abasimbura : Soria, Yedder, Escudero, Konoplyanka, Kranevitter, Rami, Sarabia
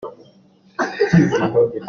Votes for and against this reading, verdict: 0, 2, rejected